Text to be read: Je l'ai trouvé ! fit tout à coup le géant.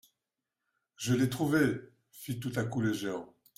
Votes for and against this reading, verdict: 2, 0, accepted